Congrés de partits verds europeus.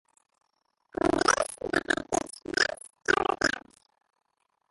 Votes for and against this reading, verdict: 0, 2, rejected